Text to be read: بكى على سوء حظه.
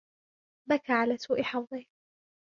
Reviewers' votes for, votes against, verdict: 2, 1, accepted